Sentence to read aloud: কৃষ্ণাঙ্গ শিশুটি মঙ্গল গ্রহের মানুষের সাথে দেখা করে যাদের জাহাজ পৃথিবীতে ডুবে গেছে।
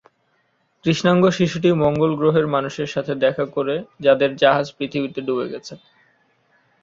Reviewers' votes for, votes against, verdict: 0, 2, rejected